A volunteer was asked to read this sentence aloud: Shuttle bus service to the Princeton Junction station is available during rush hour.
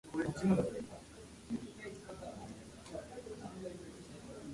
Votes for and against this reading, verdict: 0, 2, rejected